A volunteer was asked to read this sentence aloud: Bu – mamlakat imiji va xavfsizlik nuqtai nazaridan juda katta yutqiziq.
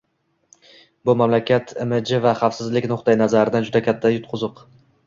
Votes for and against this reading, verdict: 2, 0, accepted